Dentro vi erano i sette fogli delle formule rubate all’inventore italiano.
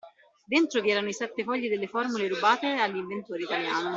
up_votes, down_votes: 0, 2